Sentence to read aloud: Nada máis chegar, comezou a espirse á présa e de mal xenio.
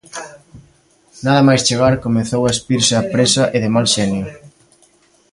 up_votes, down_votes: 2, 0